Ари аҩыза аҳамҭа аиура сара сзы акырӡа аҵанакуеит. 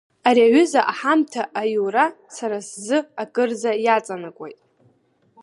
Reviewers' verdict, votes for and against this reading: accepted, 3, 1